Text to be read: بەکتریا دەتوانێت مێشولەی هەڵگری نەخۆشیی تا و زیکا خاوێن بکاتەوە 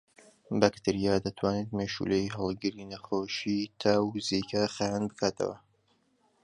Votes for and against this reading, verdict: 2, 0, accepted